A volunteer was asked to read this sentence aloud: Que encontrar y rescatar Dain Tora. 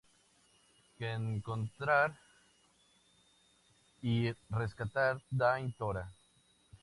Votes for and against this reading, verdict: 0, 2, rejected